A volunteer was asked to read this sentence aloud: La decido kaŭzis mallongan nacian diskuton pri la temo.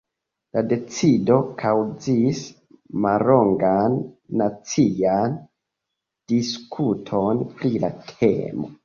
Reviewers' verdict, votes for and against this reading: rejected, 0, 2